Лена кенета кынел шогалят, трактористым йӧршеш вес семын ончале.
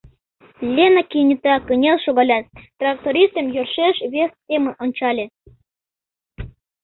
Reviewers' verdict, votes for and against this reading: accepted, 2, 0